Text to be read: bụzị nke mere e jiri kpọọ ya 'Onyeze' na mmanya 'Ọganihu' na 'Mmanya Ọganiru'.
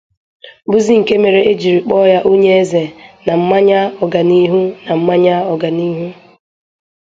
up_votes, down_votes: 2, 0